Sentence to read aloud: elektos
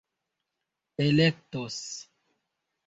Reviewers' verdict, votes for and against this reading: accepted, 3, 1